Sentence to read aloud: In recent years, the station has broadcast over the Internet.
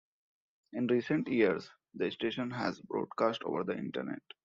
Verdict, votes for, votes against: accepted, 2, 0